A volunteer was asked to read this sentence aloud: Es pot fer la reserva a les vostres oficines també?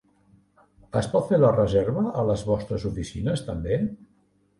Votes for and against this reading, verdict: 4, 0, accepted